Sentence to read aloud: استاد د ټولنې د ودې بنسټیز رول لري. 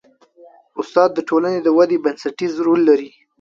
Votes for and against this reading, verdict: 2, 0, accepted